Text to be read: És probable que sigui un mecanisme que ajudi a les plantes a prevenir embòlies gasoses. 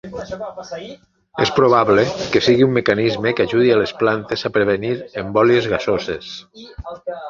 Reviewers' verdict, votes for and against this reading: rejected, 0, 3